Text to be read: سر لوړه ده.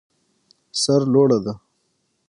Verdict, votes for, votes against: accepted, 6, 0